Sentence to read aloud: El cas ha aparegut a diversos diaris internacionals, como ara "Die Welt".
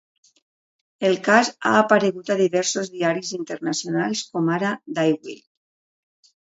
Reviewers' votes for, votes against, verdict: 2, 0, accepted